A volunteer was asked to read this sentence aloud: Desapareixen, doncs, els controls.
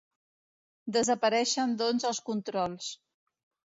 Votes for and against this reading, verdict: 2, 0, accepted